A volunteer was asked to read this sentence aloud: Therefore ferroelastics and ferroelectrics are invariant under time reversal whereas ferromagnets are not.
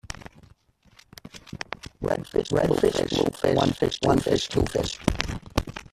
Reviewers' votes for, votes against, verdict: 0, 2, rejected